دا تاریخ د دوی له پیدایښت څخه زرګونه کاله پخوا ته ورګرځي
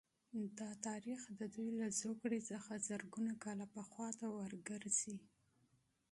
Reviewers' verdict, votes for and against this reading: accepted, 2, 0